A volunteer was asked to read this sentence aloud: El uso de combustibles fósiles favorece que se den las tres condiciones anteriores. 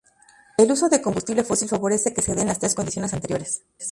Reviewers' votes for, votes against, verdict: 0, 2, rejected